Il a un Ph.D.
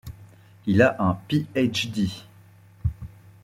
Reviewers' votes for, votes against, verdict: 2, 0, accepted